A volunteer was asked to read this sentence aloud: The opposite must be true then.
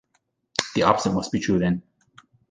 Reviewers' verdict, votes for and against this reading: rejected, 1, 2